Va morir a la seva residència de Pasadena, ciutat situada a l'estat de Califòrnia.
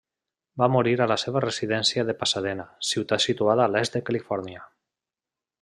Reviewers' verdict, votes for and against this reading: rejected, 1, 2